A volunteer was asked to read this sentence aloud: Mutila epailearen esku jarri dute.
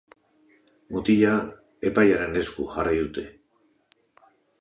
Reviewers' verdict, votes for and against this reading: accepted, 2, 0